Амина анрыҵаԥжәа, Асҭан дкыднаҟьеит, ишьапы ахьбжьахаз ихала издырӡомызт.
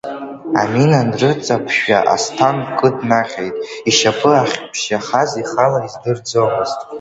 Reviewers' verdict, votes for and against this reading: rejected, 0, 2